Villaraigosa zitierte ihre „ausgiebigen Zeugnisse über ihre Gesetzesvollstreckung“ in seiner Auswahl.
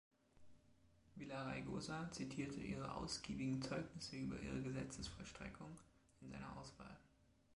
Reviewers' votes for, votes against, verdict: 2, 1, accepted